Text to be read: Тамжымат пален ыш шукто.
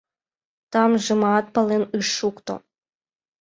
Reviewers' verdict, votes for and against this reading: accepted, 2, 0